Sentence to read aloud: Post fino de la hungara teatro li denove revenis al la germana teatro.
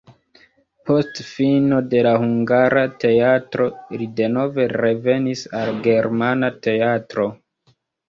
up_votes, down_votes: 0, 2